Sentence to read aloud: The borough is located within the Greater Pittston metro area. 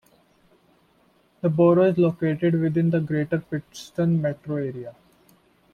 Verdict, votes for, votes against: accepted, 2, 0